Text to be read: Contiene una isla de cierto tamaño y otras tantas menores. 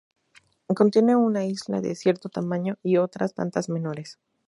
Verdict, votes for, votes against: accepted, 2, 0